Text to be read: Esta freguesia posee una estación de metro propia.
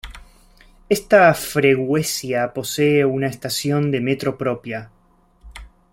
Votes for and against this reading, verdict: 1, 2, rejected